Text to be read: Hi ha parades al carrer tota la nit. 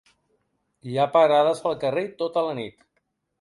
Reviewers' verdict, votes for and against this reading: rejected, 1, 2